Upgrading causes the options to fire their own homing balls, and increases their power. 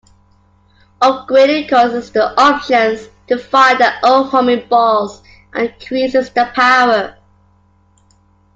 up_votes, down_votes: 3, 0